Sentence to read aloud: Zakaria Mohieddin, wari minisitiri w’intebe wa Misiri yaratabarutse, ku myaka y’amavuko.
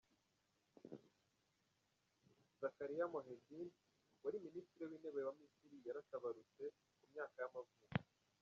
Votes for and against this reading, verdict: 1, 2, rejected